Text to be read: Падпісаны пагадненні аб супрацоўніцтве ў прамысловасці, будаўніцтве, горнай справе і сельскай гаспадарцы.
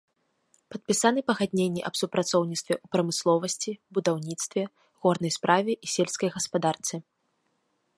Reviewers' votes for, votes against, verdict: 1, 2, rejected